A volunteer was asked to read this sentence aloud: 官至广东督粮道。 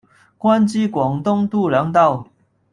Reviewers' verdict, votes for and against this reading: rejected, 0, 2